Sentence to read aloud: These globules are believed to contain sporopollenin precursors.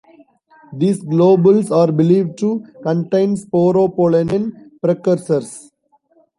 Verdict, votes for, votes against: accepted, 2, 0